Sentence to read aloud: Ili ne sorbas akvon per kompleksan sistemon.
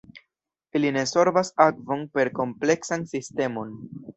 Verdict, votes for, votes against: accepted, 2, 1